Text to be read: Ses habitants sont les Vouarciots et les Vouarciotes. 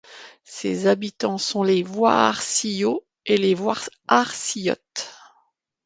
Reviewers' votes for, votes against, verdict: 2, 0, accepted